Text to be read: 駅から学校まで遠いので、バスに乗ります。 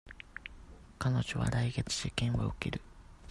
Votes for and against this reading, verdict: 0, 2, rejected